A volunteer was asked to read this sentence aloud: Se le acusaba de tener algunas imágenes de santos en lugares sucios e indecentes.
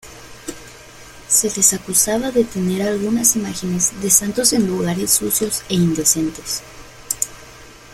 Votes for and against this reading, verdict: 0, 2, rejected